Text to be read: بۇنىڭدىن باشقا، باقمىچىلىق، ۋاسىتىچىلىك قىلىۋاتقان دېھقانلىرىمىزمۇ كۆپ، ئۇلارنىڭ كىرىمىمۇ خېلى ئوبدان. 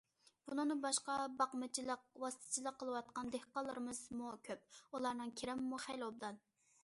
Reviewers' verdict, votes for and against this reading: accepted, 2, 0